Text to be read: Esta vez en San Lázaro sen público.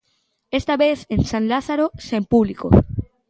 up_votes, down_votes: 2, 0